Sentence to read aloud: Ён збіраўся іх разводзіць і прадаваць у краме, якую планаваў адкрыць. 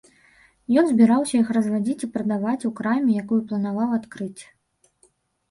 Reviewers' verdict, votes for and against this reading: rejected, 1, 2